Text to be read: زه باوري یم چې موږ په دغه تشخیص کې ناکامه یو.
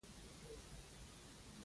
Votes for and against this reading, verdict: 1, 2, rejected